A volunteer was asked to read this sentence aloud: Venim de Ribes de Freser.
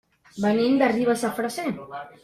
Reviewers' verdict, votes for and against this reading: accepted, 2, 1